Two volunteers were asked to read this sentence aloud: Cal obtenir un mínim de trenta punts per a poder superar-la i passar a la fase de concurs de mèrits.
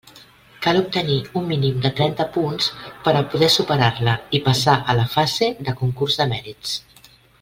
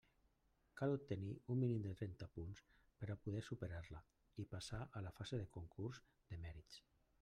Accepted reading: first